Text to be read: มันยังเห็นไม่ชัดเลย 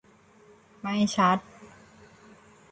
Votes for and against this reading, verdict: 0, 2, rejected